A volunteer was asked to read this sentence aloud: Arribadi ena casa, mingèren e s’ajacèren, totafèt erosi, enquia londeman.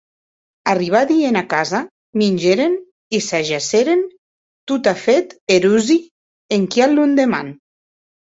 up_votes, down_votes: 2, 0